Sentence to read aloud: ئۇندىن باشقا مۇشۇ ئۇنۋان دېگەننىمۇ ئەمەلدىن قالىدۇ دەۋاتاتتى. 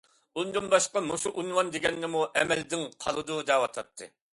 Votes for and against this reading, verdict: 2, 0, accepted